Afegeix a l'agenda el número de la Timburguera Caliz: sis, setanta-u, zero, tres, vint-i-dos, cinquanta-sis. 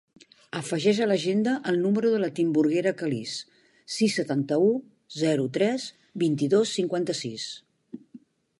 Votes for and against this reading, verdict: 2, 0, accepted